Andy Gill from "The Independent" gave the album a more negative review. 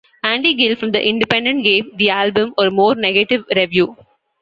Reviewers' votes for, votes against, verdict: 2, 1, accepted